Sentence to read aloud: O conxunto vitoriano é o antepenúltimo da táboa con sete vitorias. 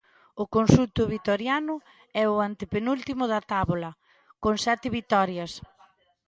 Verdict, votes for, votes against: rejected, 0, 2